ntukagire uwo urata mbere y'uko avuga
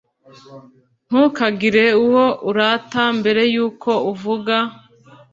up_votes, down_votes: 1, 2